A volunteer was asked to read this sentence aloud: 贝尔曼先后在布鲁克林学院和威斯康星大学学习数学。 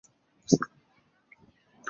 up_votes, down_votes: 0, 2